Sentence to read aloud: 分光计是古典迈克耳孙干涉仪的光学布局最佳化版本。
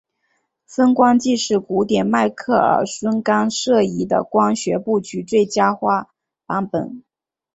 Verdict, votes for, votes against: accepted, 2, 0